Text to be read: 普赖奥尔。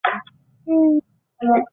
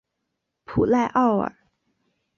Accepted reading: second